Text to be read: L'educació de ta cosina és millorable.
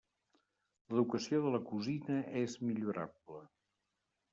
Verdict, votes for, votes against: rejected, 0, 2